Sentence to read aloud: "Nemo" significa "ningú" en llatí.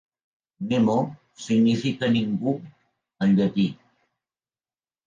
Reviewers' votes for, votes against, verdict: 2, 0, accepted